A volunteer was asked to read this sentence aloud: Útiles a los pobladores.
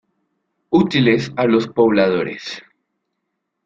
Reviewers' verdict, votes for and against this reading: rejected, 1, 2